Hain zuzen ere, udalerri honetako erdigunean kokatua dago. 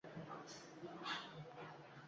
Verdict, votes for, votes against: rejected, 0, 2